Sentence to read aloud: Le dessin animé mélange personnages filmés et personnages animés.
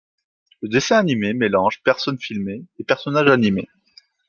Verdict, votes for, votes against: rejected, 1, 2